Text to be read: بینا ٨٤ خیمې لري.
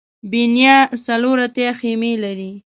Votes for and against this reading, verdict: 0, 2, rejected